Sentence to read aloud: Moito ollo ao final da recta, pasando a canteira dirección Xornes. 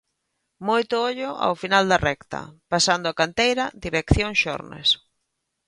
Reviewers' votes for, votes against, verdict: 2, 0, accepted